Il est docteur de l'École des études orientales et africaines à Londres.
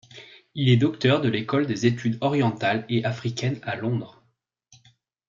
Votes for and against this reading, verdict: 2, 0, accepted